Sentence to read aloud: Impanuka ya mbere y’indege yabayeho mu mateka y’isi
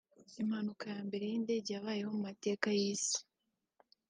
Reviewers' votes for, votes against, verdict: 3, 1, accepted